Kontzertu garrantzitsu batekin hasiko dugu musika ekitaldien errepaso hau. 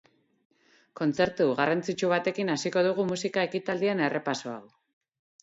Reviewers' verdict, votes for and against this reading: accepted, 4, 0